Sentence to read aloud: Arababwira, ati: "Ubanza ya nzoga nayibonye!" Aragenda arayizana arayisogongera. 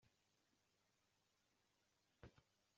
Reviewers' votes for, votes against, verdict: 0, 2, rejected